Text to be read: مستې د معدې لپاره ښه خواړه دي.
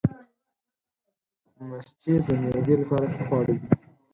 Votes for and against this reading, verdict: 4, 6, rejected